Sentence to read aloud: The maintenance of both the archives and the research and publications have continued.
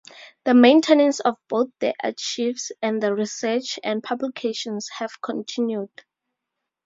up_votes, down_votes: 2, 2